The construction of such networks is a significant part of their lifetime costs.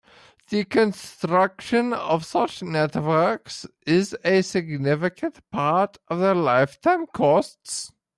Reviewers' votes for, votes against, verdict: 1, 2, rejected